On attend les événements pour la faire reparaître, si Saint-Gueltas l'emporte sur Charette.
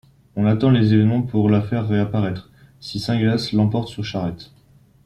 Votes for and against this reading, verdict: 0, 2, rejected